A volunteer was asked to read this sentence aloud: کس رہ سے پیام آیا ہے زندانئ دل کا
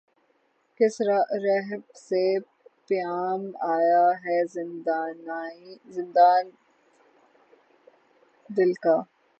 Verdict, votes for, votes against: rejected, 0, 3